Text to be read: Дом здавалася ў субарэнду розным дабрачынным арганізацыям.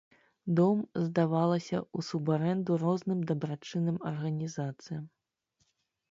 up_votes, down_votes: 3, 0